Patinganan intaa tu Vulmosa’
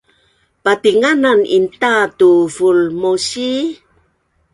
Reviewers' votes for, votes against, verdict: 2, 3, rejected